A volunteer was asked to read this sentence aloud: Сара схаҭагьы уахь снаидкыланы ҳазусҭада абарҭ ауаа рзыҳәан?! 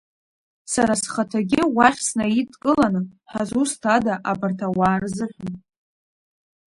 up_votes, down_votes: 2, 1